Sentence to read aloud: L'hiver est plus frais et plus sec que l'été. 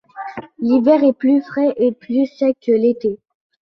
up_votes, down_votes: 2, 0